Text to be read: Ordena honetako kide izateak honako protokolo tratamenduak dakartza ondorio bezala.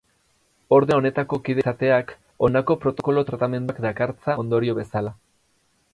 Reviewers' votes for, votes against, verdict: 0, 2, rejected